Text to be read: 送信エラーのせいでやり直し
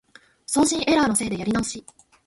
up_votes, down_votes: 2, 0